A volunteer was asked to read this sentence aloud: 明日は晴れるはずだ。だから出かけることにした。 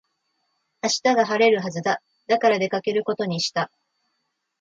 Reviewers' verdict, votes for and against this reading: accepted, 2, 0